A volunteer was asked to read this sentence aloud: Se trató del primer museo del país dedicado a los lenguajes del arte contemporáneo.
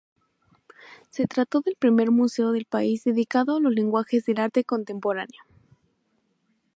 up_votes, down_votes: 0, 2